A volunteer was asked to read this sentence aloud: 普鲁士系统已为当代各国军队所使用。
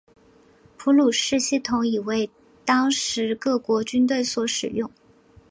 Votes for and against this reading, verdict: 1, 2, rejected